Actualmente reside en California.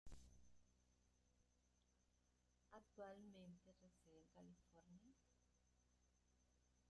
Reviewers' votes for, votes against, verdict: 0, 2, rejected